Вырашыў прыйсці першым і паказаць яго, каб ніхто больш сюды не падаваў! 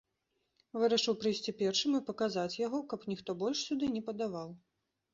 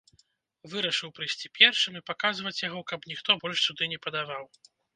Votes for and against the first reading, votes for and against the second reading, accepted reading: 2, 0, 1, 2, first